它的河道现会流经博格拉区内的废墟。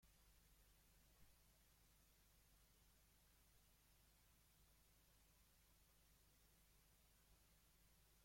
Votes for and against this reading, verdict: 0, 2, rejected